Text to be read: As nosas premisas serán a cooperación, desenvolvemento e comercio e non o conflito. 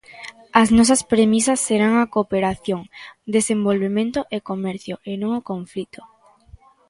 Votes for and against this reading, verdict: 2, 0, accepted